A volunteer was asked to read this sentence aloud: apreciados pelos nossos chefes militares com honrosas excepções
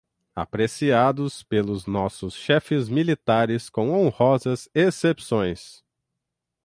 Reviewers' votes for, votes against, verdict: 6, 0, accepted